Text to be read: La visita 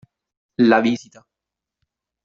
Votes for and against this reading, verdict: 0, 2, rejected